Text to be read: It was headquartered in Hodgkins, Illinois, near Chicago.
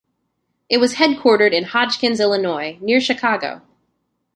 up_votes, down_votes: 2, 0